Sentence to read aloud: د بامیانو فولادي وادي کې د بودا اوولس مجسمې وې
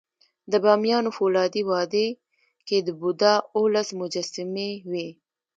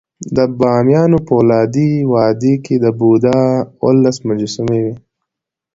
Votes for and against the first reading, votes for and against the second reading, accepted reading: 1, 2, 2, 0, second